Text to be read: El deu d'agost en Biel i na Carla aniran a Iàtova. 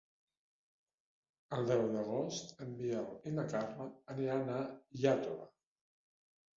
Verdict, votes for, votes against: rejected, 0, 2